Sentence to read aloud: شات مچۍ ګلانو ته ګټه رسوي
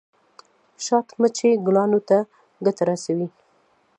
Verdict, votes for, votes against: accepted, 2, 0